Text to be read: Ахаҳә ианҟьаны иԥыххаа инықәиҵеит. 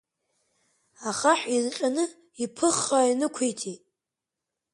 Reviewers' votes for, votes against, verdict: 1, 2, rejected